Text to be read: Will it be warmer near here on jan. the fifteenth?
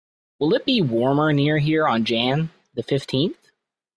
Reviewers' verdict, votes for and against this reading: rejected, 2, 3